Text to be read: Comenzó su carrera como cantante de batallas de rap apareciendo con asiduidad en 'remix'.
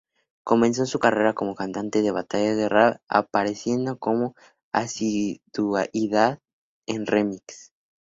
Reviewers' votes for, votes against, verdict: 2, 0, accepted